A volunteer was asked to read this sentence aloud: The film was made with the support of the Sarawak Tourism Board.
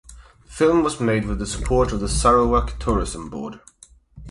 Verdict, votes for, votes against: rejected, 4, 4